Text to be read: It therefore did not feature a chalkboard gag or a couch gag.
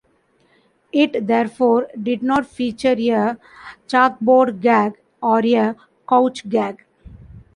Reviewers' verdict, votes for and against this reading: rejected, 0, 2